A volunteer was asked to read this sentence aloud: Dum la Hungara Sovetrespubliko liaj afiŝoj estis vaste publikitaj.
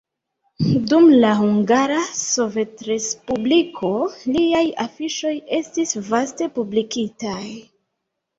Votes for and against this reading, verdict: 1, 2, rejected